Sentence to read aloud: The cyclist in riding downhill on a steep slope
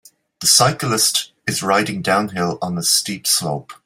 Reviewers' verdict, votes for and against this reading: rejected, 0, 2